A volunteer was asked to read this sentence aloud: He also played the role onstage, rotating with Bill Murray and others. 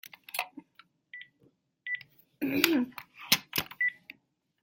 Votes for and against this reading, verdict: 0, 2, rejected